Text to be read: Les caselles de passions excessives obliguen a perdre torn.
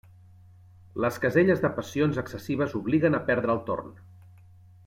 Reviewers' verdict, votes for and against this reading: rejected, 1, 2